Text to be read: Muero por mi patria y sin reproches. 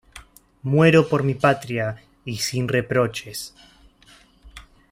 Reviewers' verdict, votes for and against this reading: accepted, 2, 0